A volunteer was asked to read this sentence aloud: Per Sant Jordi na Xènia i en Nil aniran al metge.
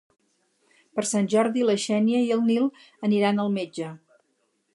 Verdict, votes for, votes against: rejected, 2, 2